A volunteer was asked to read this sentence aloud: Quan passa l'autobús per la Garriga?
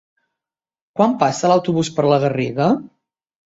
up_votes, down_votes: 4, 0